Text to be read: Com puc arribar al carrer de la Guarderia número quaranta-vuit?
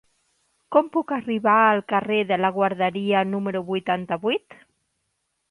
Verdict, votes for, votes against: rejected, 0, 2